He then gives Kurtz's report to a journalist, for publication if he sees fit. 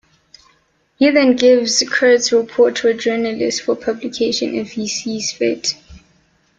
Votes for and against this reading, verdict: 1, 2, rejected